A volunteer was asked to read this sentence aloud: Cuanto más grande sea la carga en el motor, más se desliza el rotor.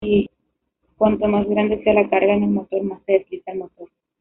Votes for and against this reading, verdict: 0, 2, rejected